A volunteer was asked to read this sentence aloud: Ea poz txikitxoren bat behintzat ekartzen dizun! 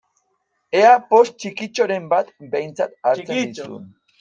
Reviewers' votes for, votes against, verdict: 0, 2, rejected